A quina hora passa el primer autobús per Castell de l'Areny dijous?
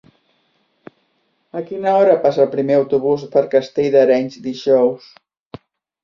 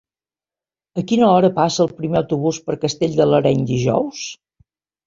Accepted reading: second